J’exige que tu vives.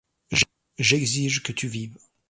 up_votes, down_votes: 0, 2